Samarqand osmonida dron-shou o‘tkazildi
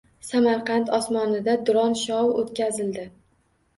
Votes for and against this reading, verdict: 2, 0, accepted